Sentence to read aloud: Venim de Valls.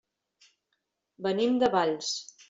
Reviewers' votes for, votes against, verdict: 3, 0, accepted